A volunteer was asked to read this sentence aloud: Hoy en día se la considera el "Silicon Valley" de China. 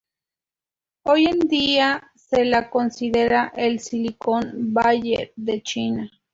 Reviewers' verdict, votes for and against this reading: rejected, 0, 2